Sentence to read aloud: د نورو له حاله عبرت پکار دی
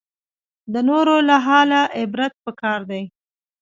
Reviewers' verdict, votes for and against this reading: accepted, 2, 0